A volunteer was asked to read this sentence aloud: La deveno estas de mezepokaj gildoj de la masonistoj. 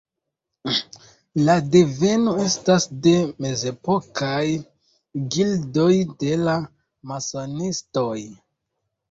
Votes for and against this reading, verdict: 1, 2, rejected